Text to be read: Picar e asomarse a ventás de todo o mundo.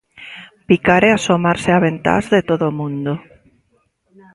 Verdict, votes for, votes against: accepted, 2, 0